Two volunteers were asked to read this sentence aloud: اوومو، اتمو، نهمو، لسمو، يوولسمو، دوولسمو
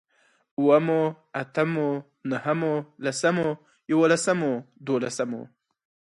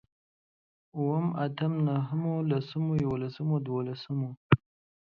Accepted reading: first